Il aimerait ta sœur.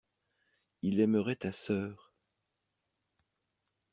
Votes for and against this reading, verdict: 2, 0, accepted